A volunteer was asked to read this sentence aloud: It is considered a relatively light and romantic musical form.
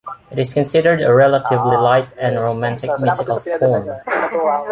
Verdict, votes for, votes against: rejected, 1, 2